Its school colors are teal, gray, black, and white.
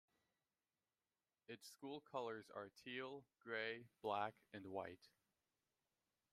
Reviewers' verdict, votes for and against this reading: accepted, 2, 0